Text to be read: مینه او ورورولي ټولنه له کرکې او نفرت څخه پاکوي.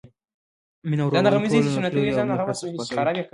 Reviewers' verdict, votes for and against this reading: rejected, 0, 2